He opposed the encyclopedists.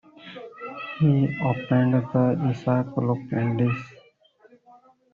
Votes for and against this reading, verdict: 0, 2, rejected